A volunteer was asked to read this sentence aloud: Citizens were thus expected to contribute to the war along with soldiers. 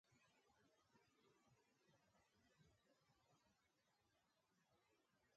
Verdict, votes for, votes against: rejected, 0, 2